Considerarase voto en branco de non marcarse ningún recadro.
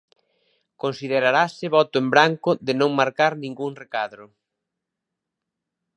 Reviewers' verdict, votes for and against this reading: rejected, 0, 2